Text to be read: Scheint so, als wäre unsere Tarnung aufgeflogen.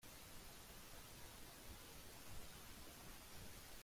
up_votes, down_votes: 0, 2